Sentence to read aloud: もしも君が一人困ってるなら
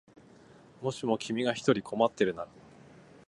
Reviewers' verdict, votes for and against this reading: accepted, 2, 0